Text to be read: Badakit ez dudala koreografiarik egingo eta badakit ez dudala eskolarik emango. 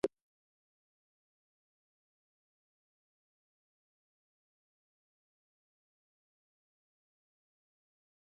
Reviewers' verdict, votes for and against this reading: rejected, 0, 4